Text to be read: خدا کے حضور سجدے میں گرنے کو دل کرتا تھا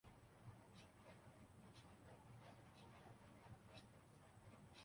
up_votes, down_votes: 0, 2